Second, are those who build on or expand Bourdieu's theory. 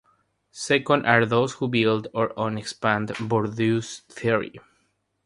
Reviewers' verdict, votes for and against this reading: rejected, 0, 3